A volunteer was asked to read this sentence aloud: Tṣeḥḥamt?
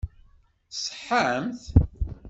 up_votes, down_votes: 2, 0